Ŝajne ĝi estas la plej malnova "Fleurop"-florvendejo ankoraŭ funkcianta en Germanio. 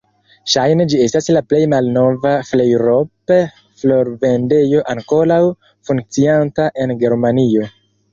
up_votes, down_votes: 2, 3